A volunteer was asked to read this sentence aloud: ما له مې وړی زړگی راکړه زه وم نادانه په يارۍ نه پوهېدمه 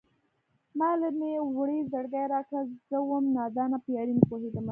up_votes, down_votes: 1, 2